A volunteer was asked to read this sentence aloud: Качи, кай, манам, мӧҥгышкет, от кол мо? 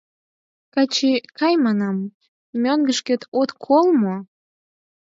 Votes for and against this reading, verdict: 4, 0, accepted